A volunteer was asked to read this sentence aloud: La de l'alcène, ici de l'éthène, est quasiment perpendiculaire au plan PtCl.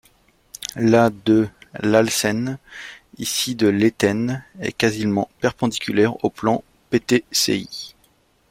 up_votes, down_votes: 1, 2